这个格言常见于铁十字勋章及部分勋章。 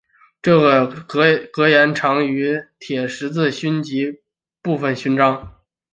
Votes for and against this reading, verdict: 3, 0, accepted